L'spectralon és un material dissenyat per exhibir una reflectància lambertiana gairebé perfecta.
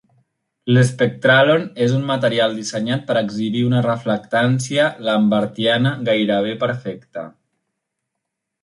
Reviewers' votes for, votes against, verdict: 2, 0, accepted